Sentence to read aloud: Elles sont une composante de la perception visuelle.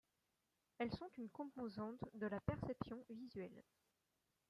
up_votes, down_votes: 2, 0